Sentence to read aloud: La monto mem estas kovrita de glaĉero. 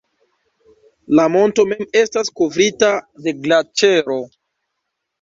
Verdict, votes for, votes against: accepted, 2, 0